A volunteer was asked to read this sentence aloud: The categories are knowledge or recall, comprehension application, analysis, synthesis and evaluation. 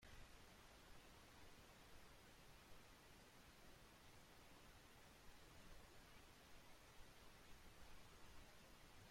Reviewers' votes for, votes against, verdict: 0, 2, rejected